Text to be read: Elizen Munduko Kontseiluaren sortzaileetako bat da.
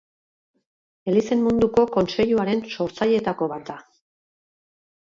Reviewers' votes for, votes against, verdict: 2, 2, rejected